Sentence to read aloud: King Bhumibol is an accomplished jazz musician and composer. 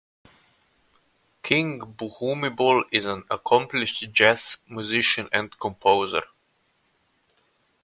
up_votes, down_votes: 2, 2